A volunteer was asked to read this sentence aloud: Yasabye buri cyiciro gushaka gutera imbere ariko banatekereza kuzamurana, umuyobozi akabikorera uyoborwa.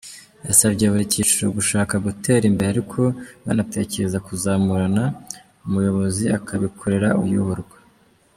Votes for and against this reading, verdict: 2, 0, accepted